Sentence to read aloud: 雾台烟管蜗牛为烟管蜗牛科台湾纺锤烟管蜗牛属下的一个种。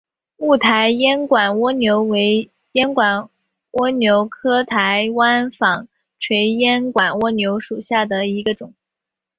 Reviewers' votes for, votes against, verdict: 1, 2, rejected